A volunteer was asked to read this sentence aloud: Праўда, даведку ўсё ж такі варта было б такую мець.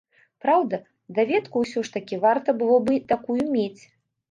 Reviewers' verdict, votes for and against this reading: rejected, 1, 2